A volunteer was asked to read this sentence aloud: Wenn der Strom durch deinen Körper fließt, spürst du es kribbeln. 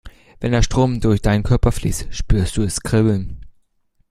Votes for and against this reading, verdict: 2, 0, accepted